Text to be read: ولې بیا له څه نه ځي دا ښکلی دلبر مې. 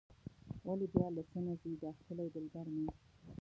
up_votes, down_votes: 1, 2